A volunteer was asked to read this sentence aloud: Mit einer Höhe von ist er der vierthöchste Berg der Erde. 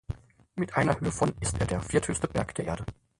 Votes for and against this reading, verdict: 0, 4, rejected